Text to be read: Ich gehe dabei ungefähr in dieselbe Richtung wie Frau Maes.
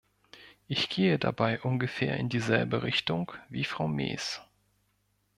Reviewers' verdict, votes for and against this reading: accepted, 2, 0